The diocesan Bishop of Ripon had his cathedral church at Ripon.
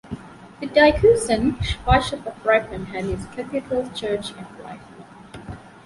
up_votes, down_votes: 0, 2